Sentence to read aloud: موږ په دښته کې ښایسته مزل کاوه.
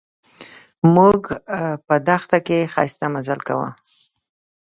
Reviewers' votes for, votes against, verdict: 2, 0, accepted